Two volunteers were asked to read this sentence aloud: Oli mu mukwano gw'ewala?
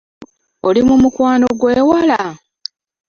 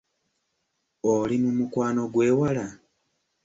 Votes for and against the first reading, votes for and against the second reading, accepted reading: 1, 2, 2, 0, second